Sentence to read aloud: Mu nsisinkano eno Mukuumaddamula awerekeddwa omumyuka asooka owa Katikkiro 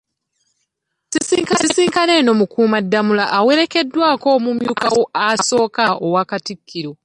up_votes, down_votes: 0, 2